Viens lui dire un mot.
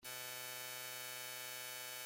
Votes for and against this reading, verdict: 0, 3, rejected